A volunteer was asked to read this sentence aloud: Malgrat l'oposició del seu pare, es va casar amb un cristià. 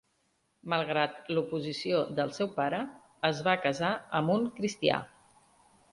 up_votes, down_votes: 3, 0